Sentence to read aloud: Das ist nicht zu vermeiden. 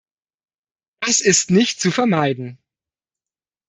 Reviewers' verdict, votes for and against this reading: rejected, 1, 2